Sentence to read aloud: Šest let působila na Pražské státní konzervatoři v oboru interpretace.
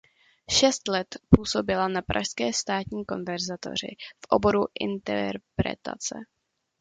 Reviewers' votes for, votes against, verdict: 0, 2, rejected